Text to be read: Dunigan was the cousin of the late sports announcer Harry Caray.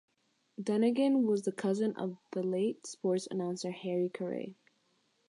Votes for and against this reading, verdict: 0, 3, rejected